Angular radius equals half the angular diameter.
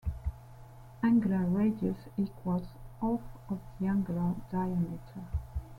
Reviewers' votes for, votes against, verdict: 2, 1, accepted